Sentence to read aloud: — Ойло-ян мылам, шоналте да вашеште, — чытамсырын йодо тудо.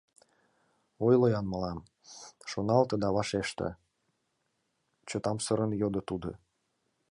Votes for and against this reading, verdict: 2, 0, accepted